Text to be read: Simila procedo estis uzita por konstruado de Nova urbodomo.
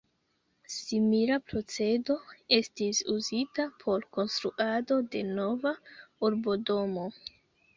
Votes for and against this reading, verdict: 2, 0, accepted